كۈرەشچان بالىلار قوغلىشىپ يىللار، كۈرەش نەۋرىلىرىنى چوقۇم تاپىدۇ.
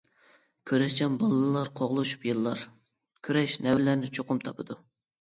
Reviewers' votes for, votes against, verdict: 0, 2, rejected